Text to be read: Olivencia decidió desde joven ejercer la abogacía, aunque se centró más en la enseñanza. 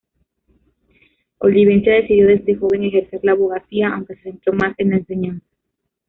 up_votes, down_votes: 1, 2